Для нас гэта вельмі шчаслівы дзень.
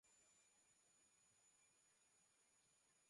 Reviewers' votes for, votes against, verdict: 1, 2, rejected